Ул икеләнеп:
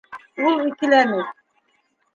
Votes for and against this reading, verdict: 0, 2, rejected